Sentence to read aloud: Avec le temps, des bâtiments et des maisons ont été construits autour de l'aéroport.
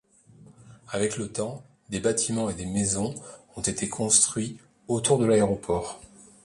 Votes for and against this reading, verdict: 2, 0, accepted